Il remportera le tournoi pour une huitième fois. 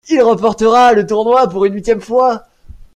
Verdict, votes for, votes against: accepted, 2, 1